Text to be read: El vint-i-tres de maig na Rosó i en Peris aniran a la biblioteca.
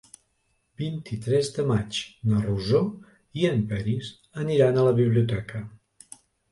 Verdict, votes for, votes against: rejected, 1, 2